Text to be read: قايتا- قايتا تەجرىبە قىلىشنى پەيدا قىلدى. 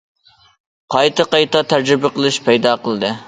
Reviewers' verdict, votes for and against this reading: rejected, 0, 2